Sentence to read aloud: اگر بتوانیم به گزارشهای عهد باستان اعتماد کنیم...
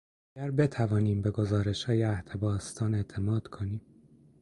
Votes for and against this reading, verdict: 1, 2, rejected